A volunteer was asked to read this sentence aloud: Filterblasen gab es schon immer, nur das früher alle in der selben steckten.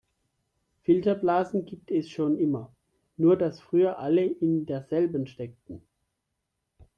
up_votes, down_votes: 0, 2